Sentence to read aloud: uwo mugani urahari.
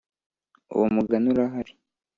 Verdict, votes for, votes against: accepted, 2, 0